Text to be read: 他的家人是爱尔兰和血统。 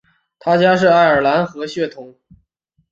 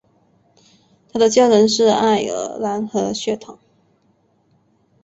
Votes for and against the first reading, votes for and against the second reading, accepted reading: 0, 2, 3, 0, second